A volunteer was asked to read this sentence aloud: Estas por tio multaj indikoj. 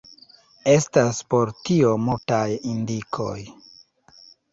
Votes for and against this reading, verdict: 1, 2, rejected